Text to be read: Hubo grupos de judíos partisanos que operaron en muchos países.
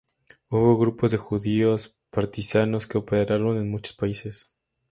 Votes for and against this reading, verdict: 4, 0, accepted